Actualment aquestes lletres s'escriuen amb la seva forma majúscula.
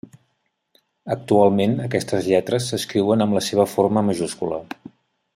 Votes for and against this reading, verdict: 3, 0, accepted